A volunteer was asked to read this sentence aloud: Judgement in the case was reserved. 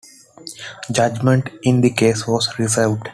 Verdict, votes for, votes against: accepted, 2, 0